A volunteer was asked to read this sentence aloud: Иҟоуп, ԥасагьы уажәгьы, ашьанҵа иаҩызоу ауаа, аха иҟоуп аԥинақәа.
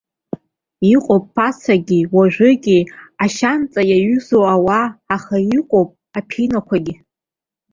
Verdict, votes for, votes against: rejected, 1, 2